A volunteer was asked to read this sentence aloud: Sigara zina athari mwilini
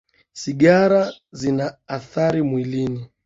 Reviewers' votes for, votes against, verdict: 2, 1, accepted